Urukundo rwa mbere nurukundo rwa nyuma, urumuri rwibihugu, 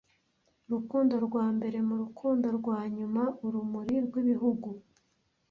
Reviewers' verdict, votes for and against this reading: rejected, 1, 2